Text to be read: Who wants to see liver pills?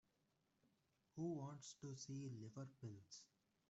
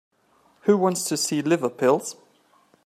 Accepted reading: second